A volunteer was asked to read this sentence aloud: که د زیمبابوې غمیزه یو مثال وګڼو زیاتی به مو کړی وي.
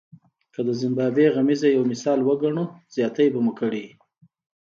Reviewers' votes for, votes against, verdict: 2, 0, accepted